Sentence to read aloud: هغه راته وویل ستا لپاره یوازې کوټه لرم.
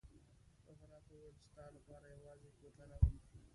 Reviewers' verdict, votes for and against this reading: rejected, 0, 2